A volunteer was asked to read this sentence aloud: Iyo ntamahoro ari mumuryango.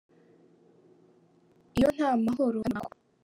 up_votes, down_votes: 1, 3